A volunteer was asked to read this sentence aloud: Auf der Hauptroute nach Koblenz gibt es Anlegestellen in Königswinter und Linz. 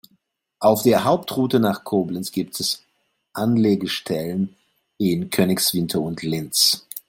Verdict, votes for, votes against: accepted, 2, 0